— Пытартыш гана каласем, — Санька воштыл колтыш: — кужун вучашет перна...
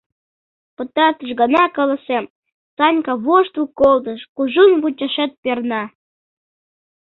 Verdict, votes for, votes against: accepted, 2, 0